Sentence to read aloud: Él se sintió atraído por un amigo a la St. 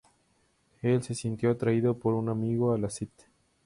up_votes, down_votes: 2, 2